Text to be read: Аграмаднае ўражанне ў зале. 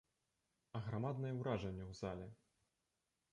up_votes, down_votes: 1, 2